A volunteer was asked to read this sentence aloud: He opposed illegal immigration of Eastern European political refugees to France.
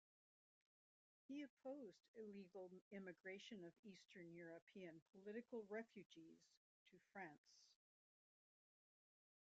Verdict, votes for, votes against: rejected, 0, 2